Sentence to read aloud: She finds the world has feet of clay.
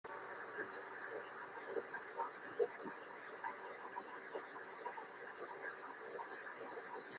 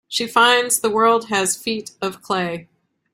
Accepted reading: second